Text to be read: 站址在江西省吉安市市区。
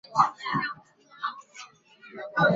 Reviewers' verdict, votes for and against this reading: rejected, 1, 2